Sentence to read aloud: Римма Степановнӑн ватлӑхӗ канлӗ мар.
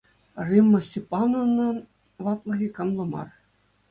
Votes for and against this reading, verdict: 2, 1, accepted